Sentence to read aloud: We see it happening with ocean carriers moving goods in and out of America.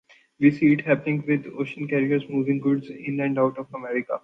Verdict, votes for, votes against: accepted, 2, 0